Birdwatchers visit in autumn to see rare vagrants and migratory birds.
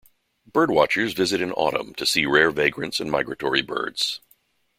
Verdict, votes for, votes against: accepted, 3, 0